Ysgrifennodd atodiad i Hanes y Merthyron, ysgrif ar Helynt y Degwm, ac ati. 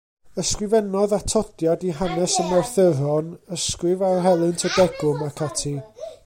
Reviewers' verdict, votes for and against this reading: rejected, 0, 2